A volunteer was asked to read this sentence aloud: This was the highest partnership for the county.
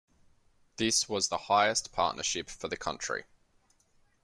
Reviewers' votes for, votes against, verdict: 1, 2, rejected